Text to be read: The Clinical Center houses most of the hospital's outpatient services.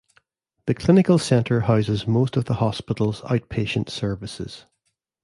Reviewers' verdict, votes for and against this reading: accepted, 2, 0